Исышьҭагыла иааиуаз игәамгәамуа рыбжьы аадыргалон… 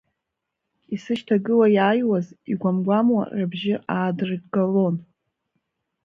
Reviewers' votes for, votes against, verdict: 1, 2, rejected